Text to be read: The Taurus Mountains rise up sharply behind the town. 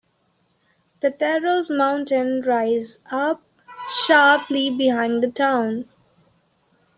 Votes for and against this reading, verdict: 0, 2, rejected